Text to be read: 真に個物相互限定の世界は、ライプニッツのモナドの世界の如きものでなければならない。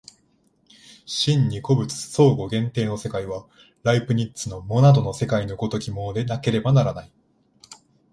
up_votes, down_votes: 2, 0